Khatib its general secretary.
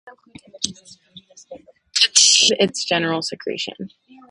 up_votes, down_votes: 0, 4